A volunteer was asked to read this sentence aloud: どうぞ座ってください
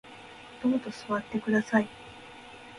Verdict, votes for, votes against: rejected, 1, 2